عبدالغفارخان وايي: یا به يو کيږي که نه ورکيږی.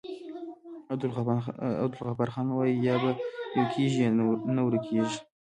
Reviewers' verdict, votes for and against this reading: rejected, 0, 2